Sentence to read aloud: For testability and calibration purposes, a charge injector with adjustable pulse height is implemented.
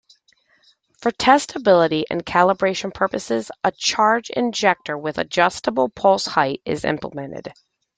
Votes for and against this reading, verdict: 2, 0, accepted